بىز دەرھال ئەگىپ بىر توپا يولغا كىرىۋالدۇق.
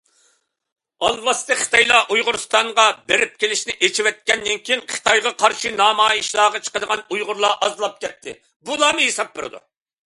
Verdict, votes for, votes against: rejected, 0, 2